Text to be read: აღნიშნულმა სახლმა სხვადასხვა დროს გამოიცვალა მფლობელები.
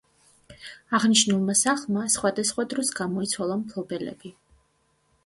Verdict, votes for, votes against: accepted, 2, 0